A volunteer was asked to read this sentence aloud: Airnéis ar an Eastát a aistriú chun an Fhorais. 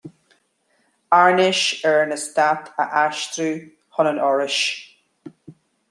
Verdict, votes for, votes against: accepted, 2, 0